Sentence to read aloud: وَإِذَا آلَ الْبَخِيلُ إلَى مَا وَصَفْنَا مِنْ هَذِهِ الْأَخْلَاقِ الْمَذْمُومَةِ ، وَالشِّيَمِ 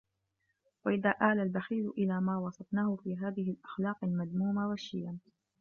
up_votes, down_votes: 0, 2